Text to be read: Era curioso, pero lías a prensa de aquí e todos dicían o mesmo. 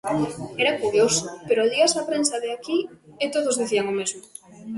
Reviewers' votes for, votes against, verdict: 1, 2, rejected